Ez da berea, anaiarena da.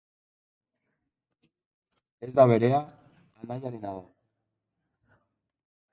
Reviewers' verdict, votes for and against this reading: accepted, 4, 2